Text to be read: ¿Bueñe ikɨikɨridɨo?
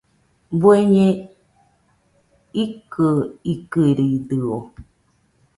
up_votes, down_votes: 2, 1